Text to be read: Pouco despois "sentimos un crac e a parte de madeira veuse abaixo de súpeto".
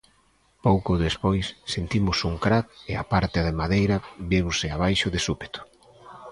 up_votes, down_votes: 1, 2